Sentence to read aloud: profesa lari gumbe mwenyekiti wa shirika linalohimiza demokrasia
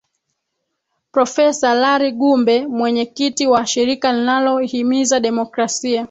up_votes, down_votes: 2, 1